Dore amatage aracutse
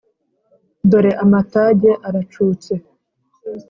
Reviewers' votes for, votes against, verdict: 3, 0, accepted